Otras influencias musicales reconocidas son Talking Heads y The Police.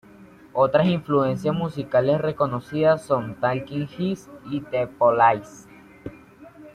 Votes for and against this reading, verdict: 2, 1, accepted